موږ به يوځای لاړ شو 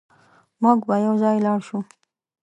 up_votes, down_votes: 2, 0